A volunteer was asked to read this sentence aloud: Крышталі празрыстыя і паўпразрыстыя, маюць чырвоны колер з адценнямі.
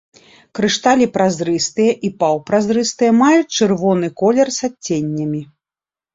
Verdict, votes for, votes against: accepted, 2, 1